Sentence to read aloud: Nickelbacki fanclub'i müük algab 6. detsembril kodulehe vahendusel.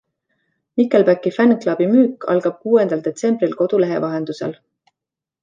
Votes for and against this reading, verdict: 0, 2, rejected